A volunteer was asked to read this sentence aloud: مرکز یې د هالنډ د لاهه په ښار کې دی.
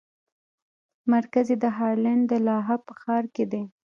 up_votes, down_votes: 1, 2